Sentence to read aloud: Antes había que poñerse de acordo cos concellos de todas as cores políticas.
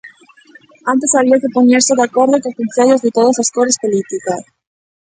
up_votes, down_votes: 1, 2